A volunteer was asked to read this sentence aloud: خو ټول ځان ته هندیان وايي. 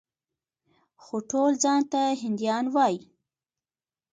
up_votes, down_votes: 2, 0